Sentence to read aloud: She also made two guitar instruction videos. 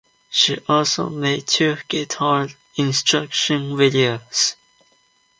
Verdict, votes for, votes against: accepted, 2, 1